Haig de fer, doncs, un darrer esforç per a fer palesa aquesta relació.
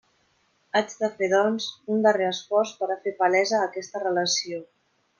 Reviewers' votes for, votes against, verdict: 2, 0, accepted